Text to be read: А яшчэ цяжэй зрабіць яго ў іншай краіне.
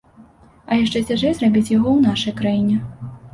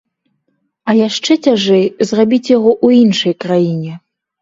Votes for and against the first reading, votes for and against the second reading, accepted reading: 0, 2, 3, 0, second